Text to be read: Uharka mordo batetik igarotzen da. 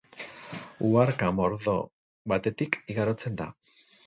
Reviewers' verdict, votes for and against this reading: accepted, 8, 0